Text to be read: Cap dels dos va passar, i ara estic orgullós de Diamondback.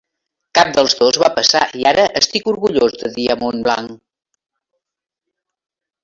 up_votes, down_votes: 0, 2